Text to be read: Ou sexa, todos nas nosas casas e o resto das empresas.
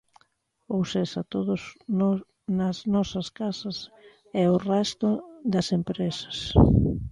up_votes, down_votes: 1, 2